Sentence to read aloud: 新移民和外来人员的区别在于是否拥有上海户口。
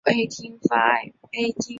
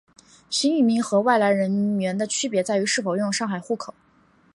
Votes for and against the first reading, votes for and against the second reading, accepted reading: 1, 3, 3, 0, second